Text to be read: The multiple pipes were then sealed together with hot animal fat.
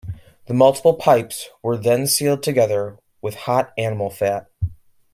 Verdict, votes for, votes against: accepted, 2, 0